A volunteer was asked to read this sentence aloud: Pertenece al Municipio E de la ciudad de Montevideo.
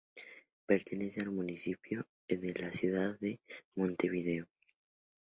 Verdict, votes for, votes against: rejected, 0, 4